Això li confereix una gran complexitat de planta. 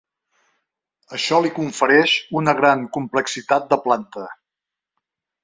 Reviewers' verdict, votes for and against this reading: accepted, 2, 0